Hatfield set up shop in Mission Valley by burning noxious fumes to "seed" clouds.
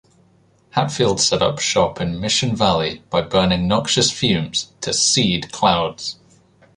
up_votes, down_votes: 2, 0